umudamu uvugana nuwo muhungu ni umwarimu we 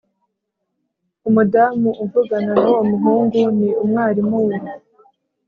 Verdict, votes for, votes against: accepted, 2, 0